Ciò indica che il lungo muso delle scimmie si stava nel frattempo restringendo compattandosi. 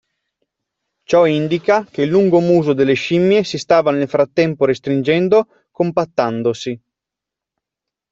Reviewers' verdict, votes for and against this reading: accepted, 2, 1